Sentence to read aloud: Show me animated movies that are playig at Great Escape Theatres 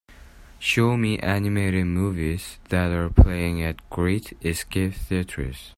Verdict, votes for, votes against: accepted, 2, 0